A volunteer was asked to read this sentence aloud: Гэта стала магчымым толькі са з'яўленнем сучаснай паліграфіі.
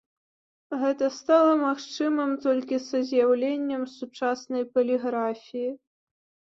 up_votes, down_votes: 2, 0